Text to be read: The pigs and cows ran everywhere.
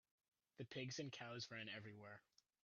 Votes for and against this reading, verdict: 2, 1, accepted